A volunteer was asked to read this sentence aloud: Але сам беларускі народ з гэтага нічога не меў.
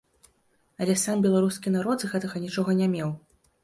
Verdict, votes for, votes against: accepted, 2, 0